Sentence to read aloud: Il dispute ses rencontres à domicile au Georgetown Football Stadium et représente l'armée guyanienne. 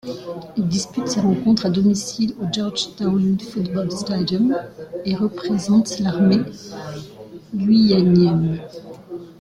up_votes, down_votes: 2, 1